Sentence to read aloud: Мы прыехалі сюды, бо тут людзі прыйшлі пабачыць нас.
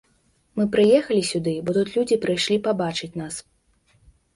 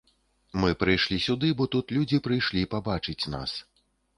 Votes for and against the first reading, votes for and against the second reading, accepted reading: 2, 0, 1, 2, first